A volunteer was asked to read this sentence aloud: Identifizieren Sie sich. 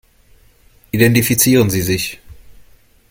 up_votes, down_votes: 2, 0